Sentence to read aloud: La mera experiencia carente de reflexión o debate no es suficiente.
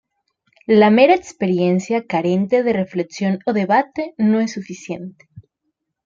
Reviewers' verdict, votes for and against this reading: accepted, 2, 0